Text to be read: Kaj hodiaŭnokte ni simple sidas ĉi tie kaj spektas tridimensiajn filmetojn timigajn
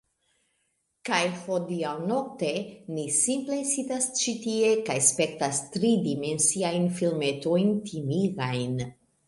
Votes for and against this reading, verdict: 2, 1, accepted